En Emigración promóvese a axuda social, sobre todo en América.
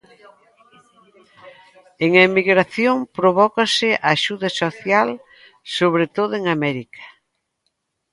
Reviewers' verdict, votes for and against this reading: rejected, 1, 2